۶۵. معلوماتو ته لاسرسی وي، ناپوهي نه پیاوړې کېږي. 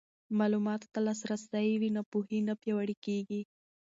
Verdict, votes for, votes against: rejected, 0, 2